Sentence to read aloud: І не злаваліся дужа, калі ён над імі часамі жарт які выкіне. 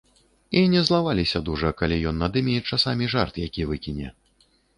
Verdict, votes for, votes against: rejected, 1, 2